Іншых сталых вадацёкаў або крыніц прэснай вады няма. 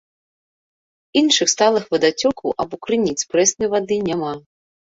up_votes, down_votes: 2, 0